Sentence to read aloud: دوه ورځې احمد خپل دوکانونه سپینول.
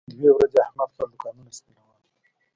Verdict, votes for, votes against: rejected, 1, 2